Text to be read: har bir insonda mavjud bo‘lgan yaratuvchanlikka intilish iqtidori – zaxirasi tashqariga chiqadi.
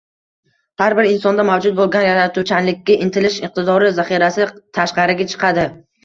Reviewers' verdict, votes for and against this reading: rejected, 1, 2